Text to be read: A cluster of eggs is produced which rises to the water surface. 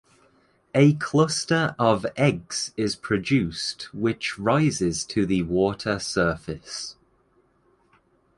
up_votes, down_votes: 2, 0